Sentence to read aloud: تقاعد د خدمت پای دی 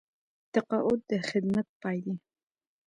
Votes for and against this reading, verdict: 1, 2, rejected